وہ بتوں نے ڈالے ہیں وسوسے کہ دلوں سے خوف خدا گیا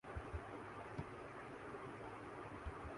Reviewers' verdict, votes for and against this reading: rejected, 1, 2